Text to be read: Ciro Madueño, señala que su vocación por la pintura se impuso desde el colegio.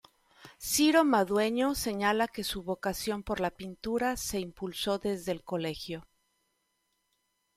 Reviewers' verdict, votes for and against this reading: rejected, 1, 2